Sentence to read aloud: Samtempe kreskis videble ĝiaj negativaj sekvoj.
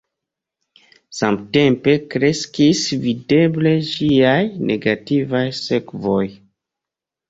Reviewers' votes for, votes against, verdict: 2, 0, accepted